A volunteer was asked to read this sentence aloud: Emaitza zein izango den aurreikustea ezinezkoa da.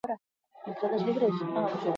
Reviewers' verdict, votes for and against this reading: rejected, 0, 2